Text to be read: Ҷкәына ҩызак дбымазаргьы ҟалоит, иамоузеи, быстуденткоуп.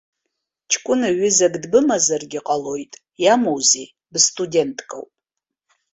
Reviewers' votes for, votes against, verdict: 2, 0, accepted